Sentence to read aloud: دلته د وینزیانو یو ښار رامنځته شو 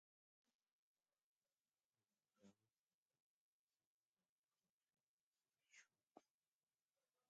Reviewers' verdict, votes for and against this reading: rejected, 1, 2